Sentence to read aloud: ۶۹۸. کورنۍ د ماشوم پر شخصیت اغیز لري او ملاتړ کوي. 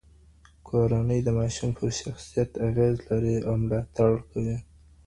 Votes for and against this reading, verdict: 0, 2, rejected